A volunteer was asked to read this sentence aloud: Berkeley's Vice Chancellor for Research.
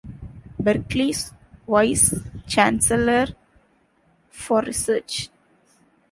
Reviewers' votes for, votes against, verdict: 2, 1, accepted